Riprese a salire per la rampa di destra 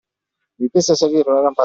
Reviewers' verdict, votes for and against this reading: rejected, 0, 2